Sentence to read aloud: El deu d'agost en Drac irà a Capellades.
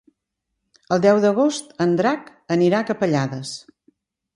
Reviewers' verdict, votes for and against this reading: rejected, 1, 2